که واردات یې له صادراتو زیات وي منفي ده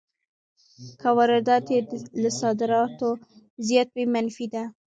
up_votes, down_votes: 1, 2